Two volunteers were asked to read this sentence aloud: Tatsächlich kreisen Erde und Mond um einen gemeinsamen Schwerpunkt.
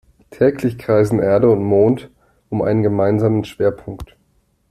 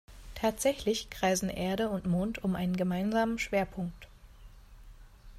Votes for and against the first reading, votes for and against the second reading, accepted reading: 1, 2, 2, 0, second